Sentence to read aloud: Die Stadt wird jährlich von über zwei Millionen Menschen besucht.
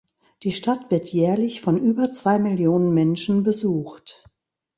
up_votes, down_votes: 2, 0